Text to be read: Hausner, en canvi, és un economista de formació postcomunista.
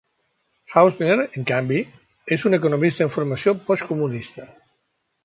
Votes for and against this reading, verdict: 3, 0, accepted